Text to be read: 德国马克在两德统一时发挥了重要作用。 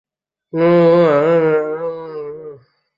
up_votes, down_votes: 0, 2